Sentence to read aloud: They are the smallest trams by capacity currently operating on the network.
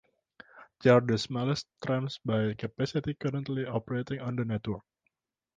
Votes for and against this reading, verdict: 2, 0, accepted